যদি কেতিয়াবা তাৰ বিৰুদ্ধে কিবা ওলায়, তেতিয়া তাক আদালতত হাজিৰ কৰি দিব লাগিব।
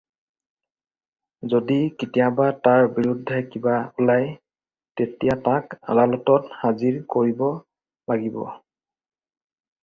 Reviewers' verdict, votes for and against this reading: rejected, 0, 4